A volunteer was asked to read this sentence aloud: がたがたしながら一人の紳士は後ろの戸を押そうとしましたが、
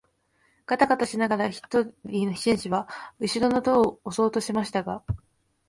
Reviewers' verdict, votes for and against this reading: rejected, 1, 2